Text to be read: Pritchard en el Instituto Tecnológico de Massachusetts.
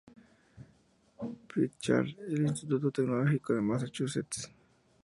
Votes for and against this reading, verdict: 2, 0, accepted